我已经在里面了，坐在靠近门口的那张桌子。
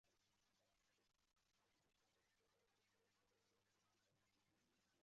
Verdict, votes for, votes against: rejected, 1, 3